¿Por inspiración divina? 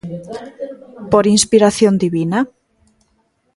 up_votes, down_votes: 2, 0